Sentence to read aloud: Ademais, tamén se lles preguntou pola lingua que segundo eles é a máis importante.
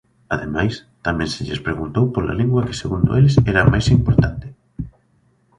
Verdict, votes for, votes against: rejected, 1, 2